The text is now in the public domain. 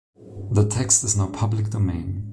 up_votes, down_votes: 1, 2